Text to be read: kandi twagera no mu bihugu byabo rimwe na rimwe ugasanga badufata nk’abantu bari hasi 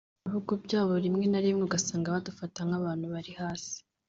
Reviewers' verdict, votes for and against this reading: rejected, 1, 2